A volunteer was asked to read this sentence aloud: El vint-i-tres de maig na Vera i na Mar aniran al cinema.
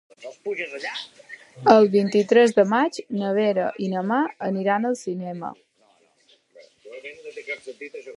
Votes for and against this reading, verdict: 1, 3, rejected